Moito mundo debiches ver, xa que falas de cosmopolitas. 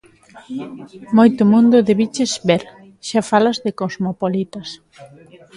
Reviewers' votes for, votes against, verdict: 0, 2, rejected